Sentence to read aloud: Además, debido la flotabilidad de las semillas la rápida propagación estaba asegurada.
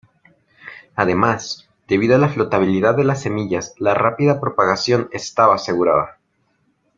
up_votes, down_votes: 1, 2